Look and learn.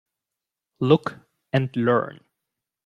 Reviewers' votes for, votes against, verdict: 2, 0, accepted